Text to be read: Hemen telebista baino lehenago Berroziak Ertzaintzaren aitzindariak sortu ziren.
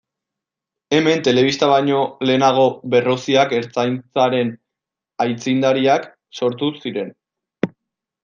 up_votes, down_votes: 1, 2